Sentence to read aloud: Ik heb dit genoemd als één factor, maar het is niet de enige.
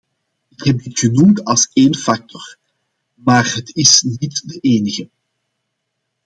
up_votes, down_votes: 2, 0